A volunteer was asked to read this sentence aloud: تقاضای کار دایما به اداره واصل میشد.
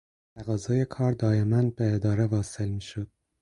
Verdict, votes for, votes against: accepted, 4, 2